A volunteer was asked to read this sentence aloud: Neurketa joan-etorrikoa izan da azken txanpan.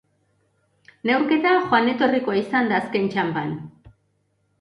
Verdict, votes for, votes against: accepted, 2, 0